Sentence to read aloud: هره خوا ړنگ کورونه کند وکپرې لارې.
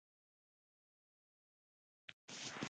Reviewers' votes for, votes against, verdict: 0, 2, rejected